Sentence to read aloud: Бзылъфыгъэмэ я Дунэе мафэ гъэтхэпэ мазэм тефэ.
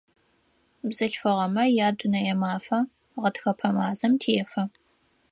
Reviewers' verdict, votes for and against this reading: accepted, 4, 0